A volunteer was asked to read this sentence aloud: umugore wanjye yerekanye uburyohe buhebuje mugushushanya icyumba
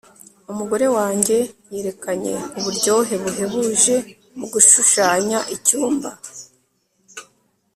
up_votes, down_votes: 0, 2